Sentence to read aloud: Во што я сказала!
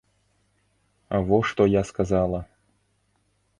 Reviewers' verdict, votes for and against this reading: accepted, 2, 0